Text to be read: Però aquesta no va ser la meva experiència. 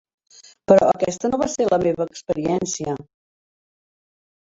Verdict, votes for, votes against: rejected, 1, 2